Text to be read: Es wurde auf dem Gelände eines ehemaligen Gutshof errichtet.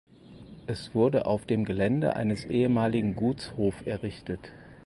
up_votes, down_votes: 4, 0